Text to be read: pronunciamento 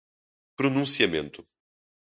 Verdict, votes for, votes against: rejected, 0, 2